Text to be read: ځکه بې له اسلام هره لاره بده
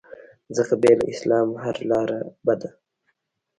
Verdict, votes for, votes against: rejected, 1, 2